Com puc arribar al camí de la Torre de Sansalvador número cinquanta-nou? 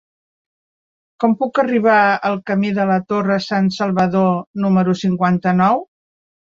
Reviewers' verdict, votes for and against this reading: rejected, 1, 2